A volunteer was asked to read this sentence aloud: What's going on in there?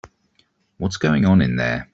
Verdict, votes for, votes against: accepted, 2, 0